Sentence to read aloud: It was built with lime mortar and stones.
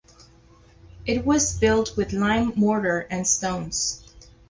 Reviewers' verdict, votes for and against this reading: accepted, 4, 2